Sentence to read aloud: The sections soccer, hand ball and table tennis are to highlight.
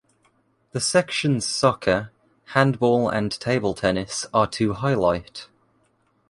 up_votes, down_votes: 2, 0